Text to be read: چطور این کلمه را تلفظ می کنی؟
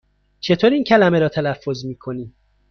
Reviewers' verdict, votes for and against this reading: accepted, 2, 0